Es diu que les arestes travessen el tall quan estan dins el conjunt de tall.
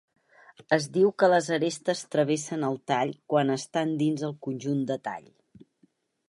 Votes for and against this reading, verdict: 4, 0, accepted